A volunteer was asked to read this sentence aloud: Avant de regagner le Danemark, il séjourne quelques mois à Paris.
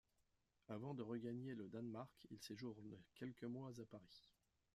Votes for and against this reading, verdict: 2, 1, accepted